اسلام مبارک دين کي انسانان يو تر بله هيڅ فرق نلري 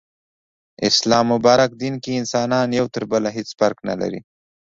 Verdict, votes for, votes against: accepted, 2, 0